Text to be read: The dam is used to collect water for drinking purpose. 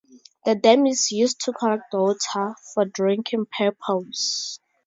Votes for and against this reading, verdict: 2, 0, accepted